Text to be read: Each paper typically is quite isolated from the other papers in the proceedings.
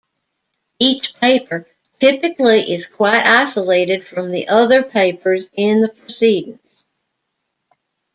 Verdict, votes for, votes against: rejected, 1, 2